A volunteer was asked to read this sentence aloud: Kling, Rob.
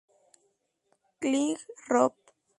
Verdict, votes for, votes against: accepted, 2, 0